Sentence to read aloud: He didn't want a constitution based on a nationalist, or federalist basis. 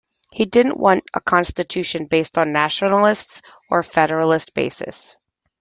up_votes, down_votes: 1, 2